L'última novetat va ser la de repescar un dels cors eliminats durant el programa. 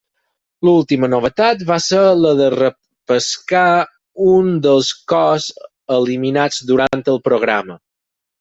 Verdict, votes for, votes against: rejected, 0, 4